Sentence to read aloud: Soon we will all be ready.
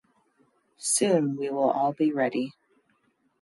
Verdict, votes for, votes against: accepted, 2, 0